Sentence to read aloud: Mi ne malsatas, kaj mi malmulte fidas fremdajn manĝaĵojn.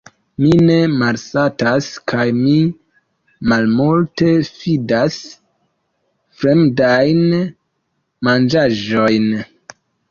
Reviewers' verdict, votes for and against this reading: accepted, 2, 0